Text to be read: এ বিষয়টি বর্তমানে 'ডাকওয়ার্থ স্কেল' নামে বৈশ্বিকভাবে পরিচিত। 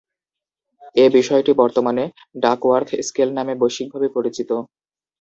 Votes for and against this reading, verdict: 0, 2, rejected